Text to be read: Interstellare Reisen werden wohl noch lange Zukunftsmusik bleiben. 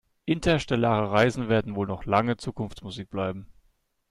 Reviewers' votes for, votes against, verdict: 2, 0, accepted